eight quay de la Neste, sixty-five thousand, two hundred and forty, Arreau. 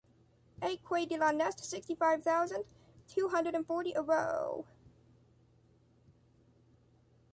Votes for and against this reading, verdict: 1, 2, rejected